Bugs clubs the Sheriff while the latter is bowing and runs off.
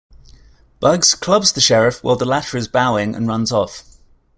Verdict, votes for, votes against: accepted, 2, 0